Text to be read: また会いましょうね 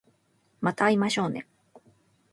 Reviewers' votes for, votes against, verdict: 1, 3, rejected